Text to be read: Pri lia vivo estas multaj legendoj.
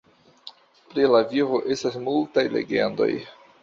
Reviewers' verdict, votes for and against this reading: rejected, 0, 2